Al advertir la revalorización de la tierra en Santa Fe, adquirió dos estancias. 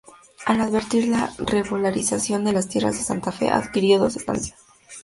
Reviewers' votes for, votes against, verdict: 0, 2, rejected